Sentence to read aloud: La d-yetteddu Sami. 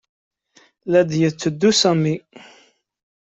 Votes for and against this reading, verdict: 2, 0, accepted